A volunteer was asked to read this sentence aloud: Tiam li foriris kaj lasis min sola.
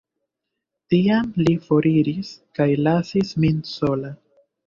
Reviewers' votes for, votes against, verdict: 1, 2, rejected